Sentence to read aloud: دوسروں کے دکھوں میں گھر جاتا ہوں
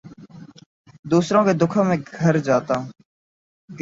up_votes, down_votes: 0, 2